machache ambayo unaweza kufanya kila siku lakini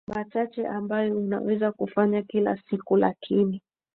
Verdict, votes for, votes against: rejected, 1, 3